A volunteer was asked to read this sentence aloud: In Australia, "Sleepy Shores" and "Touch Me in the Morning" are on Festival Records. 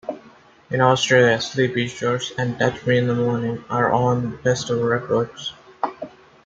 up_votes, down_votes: 2, 0